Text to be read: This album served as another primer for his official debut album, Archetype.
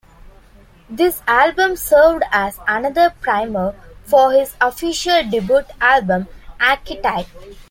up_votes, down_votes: 0, 2